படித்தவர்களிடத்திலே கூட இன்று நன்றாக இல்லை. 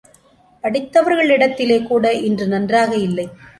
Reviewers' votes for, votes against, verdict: 3, 1, accepted